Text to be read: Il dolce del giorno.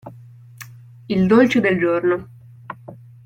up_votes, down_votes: 2, 0